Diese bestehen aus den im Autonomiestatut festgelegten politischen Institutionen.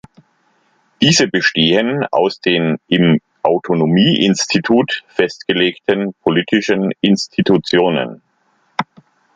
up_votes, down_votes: 1, 2